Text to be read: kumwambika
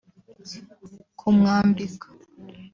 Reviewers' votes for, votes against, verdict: 1, 2, rejected